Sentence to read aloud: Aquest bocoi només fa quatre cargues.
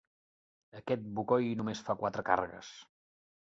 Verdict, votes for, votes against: accepted, 3, 0